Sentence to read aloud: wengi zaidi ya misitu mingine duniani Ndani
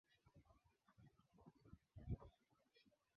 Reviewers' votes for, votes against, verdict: 0, 3, rejected